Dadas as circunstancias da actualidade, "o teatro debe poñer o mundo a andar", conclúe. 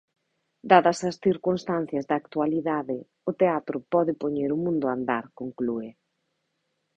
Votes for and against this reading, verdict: 0, 2, rejected